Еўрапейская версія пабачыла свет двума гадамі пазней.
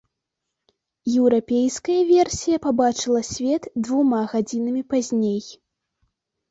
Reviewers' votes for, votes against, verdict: 0, 2, rejected